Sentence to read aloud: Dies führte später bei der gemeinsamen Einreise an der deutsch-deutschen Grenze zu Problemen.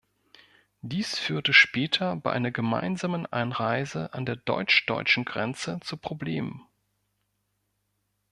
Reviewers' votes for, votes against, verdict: 1, 2, rejected